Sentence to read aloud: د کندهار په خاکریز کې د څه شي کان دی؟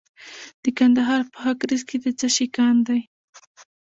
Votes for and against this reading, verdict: 1, 2, rejected